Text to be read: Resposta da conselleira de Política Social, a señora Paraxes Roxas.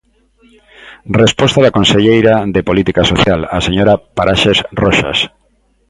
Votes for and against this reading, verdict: 2, 0, accepted